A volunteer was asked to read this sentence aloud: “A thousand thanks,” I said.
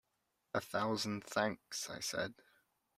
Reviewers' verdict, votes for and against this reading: accepted, 2, 0